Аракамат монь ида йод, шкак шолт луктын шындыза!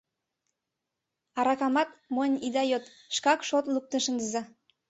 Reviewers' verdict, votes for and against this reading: accepted, 2, 0